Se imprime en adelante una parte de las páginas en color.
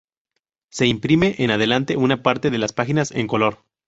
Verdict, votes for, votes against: accepted, 2, 0